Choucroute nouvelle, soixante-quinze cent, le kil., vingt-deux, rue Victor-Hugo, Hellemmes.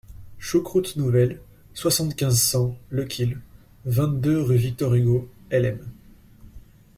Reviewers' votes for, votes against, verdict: 2, 0, accepted